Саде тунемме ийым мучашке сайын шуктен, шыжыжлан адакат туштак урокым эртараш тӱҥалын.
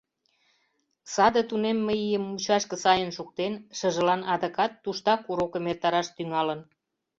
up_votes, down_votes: 0, 2